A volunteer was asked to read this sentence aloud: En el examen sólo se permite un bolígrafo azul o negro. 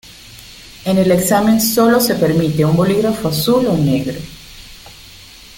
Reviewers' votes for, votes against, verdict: 2, 0, accepted